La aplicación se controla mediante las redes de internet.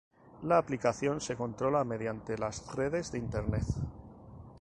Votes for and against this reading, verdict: 4, 0, accepted